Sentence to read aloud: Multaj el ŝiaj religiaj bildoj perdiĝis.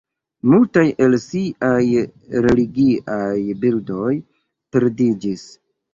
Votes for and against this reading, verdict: 0, 2, rejected